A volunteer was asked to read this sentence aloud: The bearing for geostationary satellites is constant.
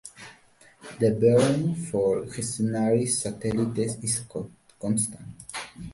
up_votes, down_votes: 0, 2